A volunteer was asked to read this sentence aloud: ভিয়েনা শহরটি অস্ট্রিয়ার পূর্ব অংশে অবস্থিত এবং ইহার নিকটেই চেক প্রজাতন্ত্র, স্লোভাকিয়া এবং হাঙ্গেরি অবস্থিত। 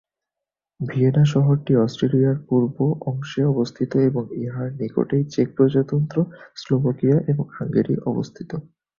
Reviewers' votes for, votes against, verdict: 1, 3, rejected